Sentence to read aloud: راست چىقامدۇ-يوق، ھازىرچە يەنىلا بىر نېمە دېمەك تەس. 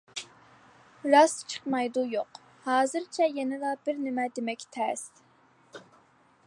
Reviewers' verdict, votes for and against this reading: rejected, 0, 2